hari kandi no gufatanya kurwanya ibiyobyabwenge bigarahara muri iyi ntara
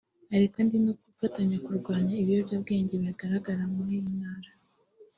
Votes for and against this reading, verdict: 1, 2, rejected